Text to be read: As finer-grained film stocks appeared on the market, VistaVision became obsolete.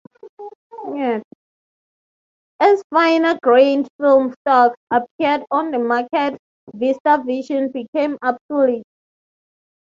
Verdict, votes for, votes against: accepted, 3, 0